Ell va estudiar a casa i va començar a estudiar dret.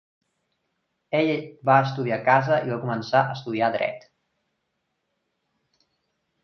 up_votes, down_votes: 3, 0